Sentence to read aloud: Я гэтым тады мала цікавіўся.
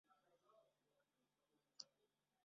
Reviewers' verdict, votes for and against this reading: rejected, 0, 2